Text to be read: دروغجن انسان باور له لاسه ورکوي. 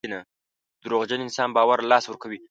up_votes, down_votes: 0, 2